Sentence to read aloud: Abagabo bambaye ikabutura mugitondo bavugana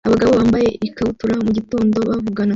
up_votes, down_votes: 2, 1